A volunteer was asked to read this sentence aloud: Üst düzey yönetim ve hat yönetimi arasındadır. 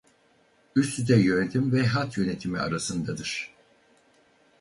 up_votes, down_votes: 2, 2